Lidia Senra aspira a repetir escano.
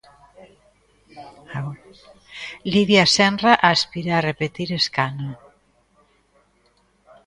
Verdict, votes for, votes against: rejected, 0, 2